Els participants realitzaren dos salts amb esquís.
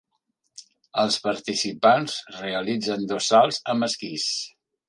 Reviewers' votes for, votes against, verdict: 1, 2, rejected